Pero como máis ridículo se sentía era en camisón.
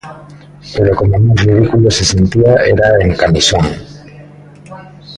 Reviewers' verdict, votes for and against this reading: rejected, 0, 2